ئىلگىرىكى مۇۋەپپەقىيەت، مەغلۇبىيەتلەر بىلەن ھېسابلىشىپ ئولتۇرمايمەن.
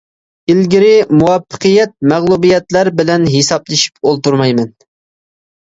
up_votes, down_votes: 2, 1